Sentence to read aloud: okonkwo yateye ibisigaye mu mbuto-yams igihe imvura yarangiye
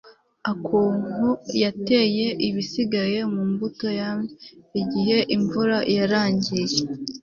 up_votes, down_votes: 2, 0